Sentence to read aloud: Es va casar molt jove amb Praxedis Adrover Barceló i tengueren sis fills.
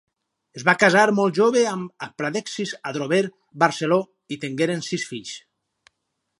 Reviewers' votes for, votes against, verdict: 0, 4, rejected